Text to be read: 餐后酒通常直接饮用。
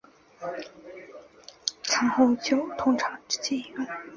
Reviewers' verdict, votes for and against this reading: accepted, 2, 0